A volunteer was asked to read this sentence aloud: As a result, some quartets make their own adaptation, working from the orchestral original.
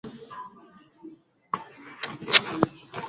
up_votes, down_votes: 0, 2